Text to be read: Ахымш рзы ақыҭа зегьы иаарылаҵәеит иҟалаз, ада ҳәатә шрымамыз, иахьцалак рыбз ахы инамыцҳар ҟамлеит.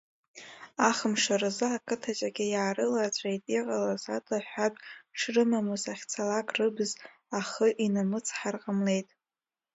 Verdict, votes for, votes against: rejected, 0, 2